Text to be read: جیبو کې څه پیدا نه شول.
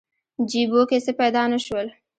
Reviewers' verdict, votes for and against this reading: accepted, 2, 0